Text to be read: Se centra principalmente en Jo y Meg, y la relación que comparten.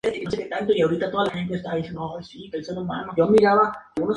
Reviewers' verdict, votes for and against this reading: rejected, 0, 2